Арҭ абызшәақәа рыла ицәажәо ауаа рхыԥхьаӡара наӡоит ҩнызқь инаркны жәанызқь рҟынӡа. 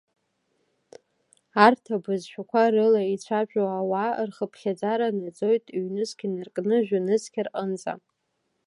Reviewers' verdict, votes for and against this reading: accepted, 2, 1